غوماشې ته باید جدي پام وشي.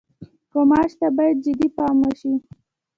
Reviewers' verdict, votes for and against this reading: accepted, 2, 1